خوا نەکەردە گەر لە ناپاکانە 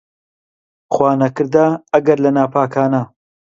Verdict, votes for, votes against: rejected, 0, 2